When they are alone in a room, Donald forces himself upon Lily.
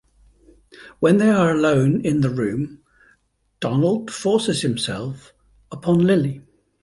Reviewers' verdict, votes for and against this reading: rejected, 0, 2